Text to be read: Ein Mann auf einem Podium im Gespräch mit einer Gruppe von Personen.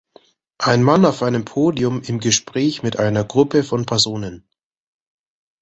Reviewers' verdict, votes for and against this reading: accepted, 2, 1